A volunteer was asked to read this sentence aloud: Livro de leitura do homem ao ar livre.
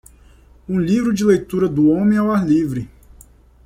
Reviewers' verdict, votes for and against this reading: rejected, 0, 2